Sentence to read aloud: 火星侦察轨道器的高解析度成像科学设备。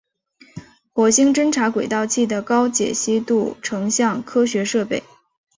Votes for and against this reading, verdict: 3, 0, accepted